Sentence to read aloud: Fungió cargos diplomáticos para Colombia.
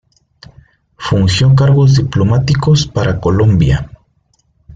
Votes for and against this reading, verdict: 0, 2, rejected